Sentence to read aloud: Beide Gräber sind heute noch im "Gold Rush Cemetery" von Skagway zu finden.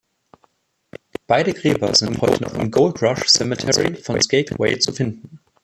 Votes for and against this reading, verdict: 0, 2, rejected